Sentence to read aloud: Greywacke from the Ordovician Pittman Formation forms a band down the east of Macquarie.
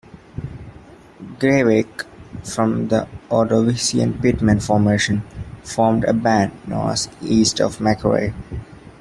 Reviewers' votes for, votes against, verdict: 1, 2, rejected